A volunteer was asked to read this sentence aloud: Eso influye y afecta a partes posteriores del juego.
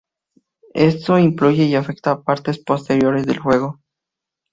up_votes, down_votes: 2, 2